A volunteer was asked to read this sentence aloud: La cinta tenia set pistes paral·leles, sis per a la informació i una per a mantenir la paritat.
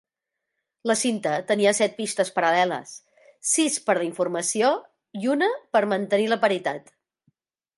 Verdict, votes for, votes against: rejected, 0, 2